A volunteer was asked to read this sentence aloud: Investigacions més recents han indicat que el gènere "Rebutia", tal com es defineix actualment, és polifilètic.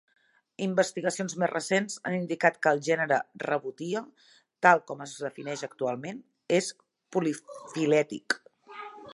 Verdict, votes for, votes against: rejected, 1, 2